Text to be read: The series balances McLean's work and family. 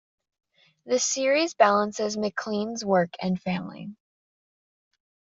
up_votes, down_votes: 2, 0